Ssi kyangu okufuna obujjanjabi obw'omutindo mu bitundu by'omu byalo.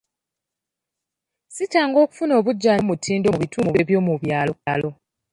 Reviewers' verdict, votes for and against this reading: accepted, 2, 0